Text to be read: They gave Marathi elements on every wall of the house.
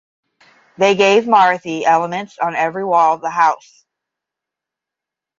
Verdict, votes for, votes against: accepted, 5, 0